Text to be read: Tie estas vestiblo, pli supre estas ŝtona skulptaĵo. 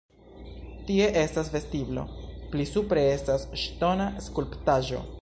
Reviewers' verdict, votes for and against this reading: accepted, 2, 1